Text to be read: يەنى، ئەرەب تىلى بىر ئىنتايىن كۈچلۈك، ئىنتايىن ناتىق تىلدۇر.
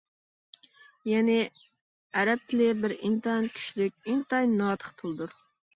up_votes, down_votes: 2, 0